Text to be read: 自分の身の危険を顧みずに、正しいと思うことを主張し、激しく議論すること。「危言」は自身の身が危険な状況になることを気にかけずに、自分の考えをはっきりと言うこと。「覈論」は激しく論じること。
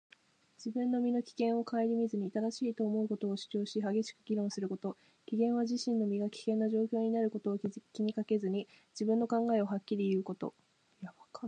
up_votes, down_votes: 1, 2